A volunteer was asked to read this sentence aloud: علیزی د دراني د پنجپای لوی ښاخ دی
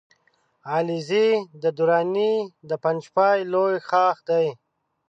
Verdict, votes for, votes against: rejected, 1, 2